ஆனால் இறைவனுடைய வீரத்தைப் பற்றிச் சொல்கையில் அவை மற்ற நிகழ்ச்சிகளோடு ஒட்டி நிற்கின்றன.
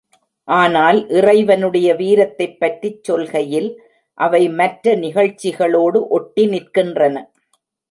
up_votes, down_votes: 2, 0